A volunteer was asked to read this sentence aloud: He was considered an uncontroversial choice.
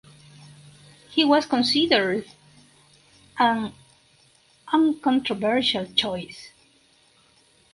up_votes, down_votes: 4, 2